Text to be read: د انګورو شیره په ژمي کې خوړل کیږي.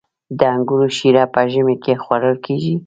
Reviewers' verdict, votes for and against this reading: rejected, 0, 2